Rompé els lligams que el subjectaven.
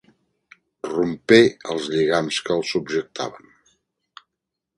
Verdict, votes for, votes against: accepted, 2, 0